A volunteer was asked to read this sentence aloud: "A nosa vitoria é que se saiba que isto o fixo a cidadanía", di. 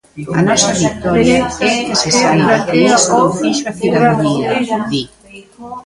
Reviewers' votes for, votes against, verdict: 0, 2, rejected